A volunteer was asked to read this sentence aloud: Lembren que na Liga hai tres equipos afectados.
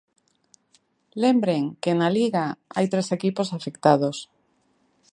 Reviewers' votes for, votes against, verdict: 2, 0, accepted